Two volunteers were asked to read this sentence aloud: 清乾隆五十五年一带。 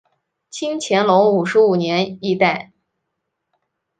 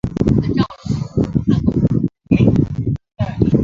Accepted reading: first